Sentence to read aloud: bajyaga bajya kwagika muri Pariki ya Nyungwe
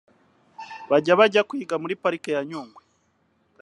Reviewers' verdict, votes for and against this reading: rejected, 0, 2